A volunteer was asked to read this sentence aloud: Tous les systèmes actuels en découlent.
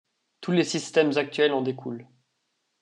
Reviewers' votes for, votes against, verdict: 2, 0, accepted